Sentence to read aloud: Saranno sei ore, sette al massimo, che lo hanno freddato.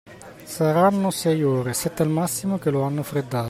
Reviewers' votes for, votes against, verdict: 2, 0, accepted